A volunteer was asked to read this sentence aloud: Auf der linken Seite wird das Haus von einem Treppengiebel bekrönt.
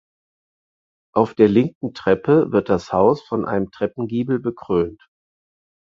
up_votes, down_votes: 4, 0